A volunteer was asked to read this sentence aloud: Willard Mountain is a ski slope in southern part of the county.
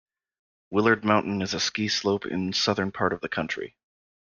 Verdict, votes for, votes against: rejected, 1, 2